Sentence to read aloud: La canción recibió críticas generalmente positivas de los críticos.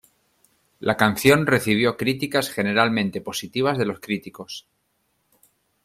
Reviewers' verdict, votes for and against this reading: accepted, 2, 0